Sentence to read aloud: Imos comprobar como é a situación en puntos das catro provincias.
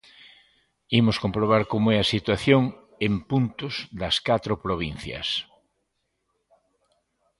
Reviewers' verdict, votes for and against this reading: accepted, 2, 0